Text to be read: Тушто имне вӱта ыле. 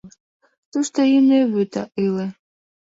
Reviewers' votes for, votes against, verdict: 0, 2, rejected